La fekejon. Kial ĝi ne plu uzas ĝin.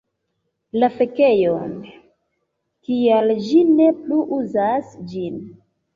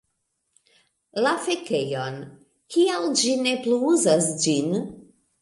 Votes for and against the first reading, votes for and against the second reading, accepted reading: 1, 2, 2, 0, second